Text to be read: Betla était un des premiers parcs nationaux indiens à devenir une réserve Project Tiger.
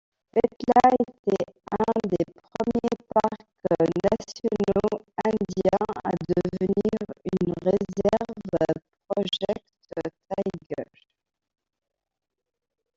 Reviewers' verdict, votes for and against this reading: rejected, 1, 2